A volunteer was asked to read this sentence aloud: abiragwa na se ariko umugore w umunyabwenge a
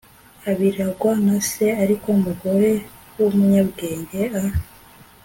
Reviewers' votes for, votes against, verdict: 2, 0, accepted